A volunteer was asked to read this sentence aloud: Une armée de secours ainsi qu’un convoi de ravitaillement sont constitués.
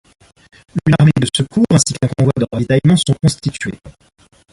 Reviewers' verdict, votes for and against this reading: rejected, 1, 2